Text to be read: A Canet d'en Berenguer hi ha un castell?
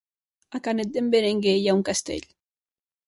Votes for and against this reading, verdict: 0, 2, rejected